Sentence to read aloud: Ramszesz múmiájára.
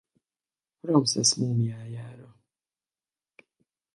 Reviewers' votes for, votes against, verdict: 0, 4, rejected